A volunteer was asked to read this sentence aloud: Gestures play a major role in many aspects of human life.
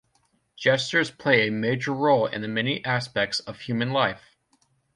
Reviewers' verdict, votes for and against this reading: rejected, 0, 2